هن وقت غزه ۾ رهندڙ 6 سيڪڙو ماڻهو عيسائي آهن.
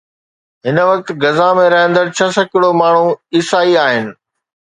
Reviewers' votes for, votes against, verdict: 0, 2, rejected